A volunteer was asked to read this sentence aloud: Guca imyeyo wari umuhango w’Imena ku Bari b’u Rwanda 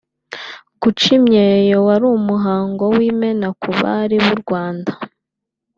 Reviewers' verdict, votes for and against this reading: accepted, 2, 0